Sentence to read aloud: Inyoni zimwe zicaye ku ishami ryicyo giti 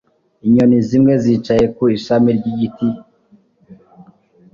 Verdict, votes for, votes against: rejected, 1, 2